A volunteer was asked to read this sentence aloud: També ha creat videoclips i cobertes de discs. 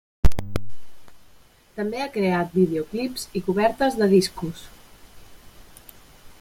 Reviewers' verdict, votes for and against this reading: rejected, 1, 2